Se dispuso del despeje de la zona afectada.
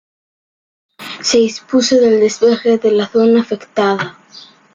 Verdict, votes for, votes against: rejected, 1, 2